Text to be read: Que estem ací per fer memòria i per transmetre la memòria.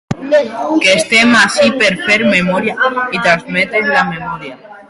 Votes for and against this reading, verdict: 0, 2, rejected